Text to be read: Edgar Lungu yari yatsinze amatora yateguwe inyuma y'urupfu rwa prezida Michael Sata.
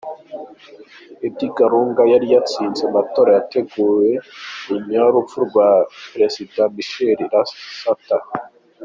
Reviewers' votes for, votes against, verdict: 1, 2, rejected